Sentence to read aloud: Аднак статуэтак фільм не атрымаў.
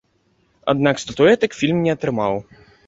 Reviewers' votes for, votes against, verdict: 2, 0, accepted